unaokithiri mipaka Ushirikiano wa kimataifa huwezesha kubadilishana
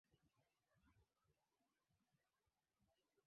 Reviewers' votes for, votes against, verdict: 0, 2, rejected